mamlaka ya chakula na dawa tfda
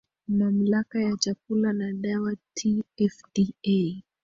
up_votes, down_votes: 1, 2